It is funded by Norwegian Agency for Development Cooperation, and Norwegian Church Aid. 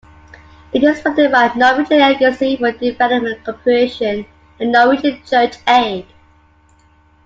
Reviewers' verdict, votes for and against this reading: accepted, 2, 0